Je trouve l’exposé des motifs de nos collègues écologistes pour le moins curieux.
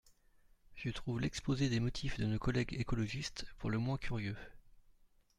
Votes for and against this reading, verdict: 1, 2, rejected